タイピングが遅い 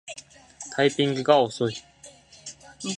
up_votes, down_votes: 2, 0